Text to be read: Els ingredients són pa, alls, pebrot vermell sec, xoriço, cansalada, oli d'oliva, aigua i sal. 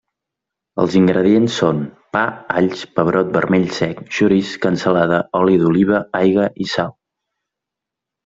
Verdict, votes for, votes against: rejected, 1, 2